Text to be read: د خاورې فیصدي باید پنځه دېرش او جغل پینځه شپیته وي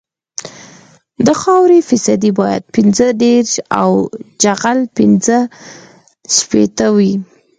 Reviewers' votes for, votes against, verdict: 4, 0, accepted